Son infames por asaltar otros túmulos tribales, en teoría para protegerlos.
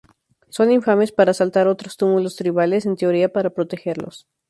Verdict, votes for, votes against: rejected, 0, 2